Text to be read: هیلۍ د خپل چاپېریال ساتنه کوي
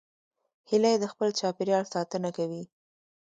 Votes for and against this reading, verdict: 0, 2, rejected